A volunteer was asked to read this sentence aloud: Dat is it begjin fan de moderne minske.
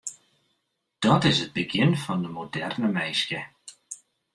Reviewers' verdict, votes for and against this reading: accepted, 2, 0